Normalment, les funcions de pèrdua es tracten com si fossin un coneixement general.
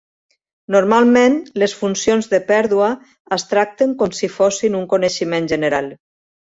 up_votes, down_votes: 2, 0